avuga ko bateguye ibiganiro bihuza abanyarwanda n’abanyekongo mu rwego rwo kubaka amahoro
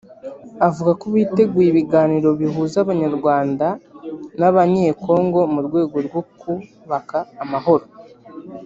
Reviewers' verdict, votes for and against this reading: rejected, 1, 3